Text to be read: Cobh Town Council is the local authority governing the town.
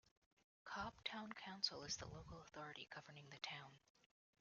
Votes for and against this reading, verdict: 0, 2, rejected